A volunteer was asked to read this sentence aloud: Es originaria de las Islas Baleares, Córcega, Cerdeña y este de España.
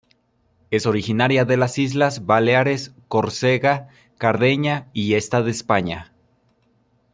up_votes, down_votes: 0, 2